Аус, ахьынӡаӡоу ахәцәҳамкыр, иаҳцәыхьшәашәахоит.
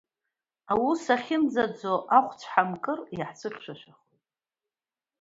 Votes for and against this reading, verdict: 1, 2, rejected